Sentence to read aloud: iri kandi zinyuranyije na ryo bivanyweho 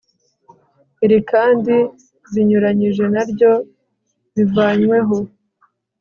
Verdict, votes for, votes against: accepted, 2, 0